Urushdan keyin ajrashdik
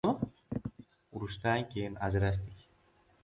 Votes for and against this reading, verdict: 0, 2, rejected